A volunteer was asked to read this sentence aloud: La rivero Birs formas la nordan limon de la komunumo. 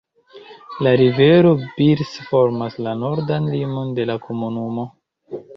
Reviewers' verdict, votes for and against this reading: accepted, 2, 0